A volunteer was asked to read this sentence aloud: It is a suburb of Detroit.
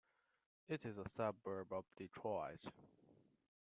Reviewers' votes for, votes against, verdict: 2, 0, accepted